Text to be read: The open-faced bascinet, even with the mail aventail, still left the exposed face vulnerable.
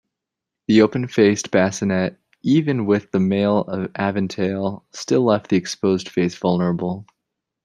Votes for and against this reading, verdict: 1, 2, rejected